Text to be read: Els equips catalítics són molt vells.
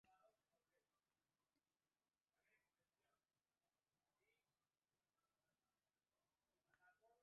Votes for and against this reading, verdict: 0, 2, rejected